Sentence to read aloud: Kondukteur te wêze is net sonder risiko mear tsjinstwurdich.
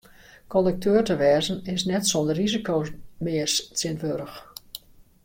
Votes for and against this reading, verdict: 1, 2, rejected